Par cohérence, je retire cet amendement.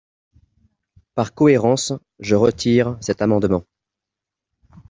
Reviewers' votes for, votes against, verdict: 2, 1, accepted